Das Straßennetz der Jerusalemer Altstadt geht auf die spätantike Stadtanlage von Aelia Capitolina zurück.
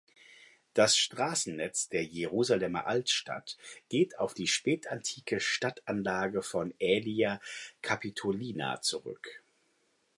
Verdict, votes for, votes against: accepted, 2, 0